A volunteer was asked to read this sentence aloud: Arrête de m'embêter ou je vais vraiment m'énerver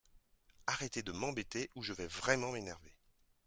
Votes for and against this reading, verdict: 1, 2, rejected